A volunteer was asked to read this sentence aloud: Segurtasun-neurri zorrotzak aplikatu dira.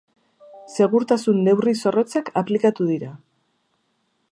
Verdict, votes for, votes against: accepted, 2, 0